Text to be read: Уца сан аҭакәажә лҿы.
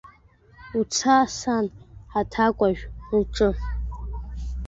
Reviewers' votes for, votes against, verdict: 0, 2, rejected